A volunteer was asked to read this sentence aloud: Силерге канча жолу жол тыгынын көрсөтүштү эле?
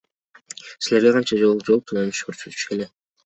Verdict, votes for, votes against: accepted, 2, 0